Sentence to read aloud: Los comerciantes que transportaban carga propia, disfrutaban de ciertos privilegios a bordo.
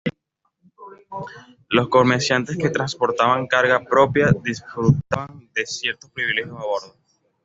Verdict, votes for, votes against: rejected, 0, 2